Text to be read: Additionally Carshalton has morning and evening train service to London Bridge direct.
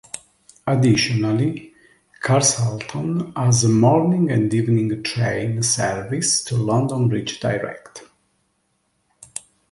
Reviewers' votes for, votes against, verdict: 3, 0, accepted